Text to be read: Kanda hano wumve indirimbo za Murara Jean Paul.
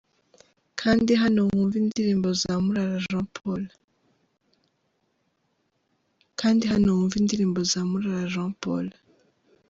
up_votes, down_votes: 2, 4